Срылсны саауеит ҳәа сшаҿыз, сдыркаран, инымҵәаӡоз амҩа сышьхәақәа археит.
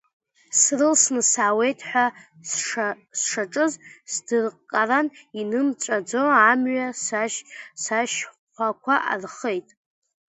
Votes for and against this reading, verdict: 1, 2, rejected